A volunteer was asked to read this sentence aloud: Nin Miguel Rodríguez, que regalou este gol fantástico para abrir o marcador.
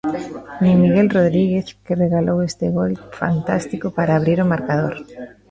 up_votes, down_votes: 0, 2